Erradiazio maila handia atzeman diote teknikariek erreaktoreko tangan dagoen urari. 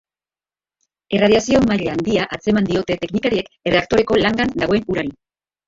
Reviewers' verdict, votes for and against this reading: rejected, 0, 2